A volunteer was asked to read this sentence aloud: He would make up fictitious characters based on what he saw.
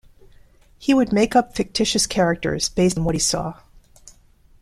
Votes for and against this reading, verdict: 0, 2, rejected